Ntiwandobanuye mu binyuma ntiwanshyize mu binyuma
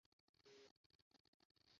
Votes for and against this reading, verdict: 0, 2, rejected